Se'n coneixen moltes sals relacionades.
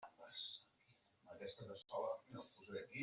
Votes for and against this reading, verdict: 0, 2, rejected